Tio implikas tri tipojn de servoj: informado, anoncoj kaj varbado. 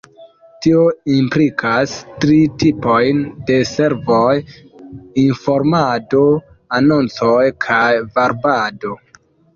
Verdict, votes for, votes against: accepted, 2, 0